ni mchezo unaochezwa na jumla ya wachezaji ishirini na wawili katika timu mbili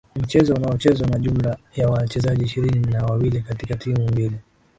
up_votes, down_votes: 2, 1